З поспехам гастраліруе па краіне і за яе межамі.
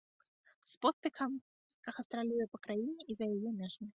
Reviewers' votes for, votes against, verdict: 1, 2, rejected